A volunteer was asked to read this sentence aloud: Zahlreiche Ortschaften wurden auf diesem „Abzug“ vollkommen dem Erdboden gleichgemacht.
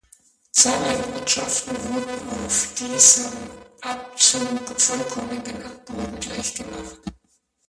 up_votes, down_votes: 0, 2